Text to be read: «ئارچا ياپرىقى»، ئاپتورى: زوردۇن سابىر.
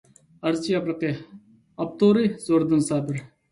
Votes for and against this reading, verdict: 1, 2, rejected